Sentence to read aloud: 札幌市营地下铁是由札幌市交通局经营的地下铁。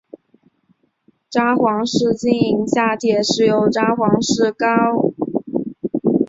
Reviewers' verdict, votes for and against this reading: rejected, 0, 3